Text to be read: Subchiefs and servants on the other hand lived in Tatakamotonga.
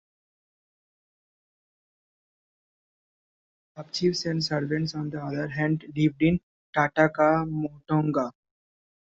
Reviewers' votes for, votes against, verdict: 0, 2, rejected